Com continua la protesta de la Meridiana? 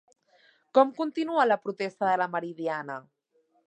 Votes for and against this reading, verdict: 2, 0, accepted